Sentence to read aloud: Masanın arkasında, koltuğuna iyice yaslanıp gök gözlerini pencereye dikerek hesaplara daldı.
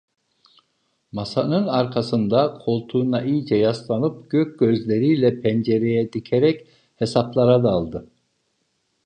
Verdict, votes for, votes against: rejected, 0, 2